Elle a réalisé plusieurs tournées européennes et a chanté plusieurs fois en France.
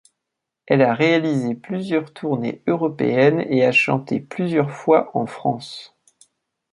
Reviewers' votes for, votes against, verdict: 2, 0, accepted